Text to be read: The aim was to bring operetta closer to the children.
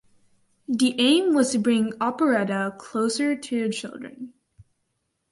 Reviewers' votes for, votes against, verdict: 4, 0, accepted